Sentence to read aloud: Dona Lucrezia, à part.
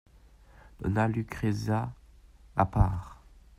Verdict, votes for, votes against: rejected, 0, 2